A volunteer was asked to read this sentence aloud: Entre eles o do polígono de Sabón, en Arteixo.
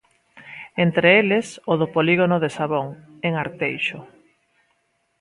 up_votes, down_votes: 1, 2